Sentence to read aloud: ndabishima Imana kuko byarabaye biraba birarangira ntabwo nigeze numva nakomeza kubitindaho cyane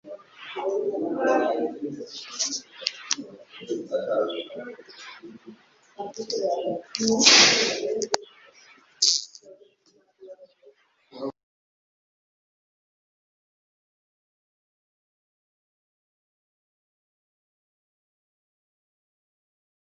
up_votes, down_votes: 1, 2